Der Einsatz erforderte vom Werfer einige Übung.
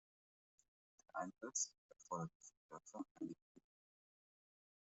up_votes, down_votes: 1, 2